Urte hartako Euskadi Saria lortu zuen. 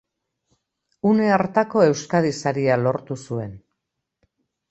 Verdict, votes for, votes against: rejected, 1, 2